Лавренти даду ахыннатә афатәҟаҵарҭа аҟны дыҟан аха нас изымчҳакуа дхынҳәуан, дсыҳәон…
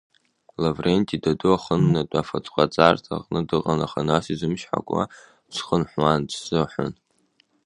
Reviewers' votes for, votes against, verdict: 2, 0, accepted